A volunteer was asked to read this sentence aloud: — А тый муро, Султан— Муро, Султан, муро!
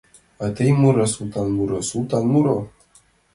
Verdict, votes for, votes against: accepted, 2, 0